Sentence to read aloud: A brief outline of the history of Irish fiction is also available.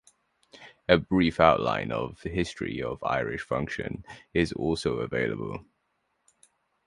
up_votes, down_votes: 0, 2